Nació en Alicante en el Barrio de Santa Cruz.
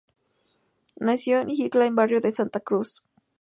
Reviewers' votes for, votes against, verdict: 0, 2, rejected